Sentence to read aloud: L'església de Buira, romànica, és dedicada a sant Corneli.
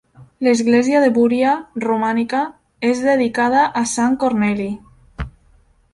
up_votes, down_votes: 1, 2